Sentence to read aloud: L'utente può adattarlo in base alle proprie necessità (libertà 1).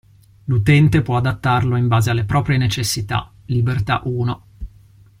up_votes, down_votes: 0, 2